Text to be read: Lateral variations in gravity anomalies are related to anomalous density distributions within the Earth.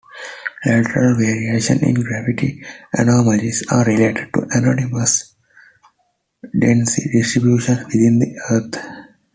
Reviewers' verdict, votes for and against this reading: rejected, 0, 2